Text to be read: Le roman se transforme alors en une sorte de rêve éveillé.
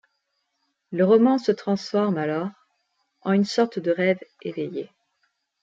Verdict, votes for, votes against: accepted, 2, 0